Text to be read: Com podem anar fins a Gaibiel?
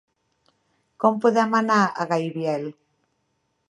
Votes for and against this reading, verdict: 0, 2, rejected